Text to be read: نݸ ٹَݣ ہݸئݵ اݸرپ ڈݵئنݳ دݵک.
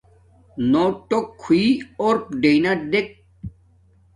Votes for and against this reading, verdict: 1, 2, rejected